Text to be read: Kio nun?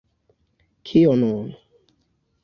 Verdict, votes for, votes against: accepted, 2, 1